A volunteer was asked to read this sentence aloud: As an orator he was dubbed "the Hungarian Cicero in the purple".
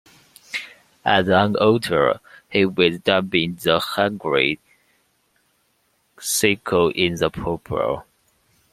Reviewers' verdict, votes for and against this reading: rejected, 1, 2